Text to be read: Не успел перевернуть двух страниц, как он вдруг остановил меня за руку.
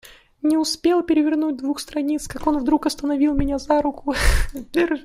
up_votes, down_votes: 1, 2